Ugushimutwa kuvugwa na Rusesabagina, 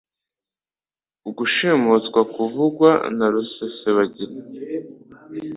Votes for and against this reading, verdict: 2, 0, accepted